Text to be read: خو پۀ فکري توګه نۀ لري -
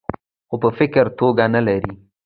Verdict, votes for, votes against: accepted, 2, 1